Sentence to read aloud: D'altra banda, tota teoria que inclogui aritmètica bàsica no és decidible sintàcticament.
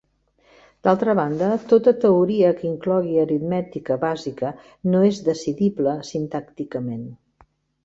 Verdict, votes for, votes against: accepted, 3, 0